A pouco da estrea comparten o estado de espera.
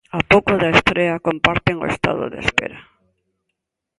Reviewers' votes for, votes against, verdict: 3, 1, accepted